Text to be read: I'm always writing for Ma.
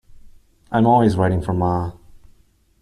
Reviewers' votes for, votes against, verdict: 2, 0, accepted